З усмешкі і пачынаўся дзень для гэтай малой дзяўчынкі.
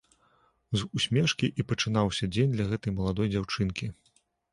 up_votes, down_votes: 1, 2